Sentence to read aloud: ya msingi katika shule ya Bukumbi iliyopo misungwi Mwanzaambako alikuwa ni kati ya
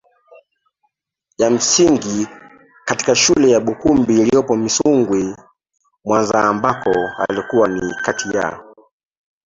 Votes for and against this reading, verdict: 0, 2, rejected